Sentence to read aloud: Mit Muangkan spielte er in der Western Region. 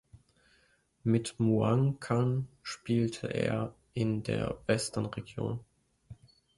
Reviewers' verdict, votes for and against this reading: accepted, 2, 0